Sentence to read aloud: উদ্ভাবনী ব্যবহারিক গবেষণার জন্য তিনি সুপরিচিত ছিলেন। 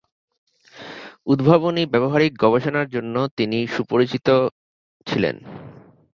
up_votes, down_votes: 2, 0